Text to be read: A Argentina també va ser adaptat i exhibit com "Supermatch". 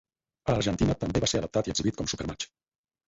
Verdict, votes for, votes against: accepted, 4, 2